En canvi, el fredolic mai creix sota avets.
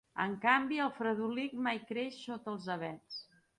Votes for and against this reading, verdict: 0, 2, rejected